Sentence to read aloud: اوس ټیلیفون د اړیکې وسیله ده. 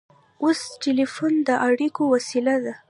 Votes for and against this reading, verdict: 0, 2, rejected